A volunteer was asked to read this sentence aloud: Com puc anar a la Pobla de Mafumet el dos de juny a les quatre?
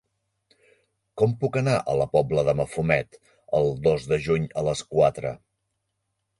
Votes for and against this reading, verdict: 3, 0, accepted